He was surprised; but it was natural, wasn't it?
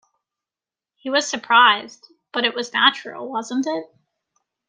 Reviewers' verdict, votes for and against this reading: accepted, 3, 0